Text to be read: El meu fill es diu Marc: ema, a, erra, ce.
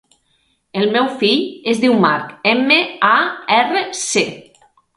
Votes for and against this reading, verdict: 3, 0, accepted